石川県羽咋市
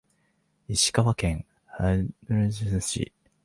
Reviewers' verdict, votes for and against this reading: rejected, 1, 6